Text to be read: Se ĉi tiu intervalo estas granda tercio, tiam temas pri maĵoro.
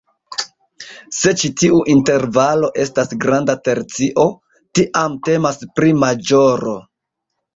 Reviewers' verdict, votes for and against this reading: rejected, 0, 2